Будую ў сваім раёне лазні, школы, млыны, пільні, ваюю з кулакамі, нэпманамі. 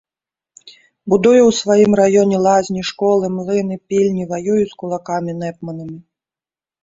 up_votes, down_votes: 2, 0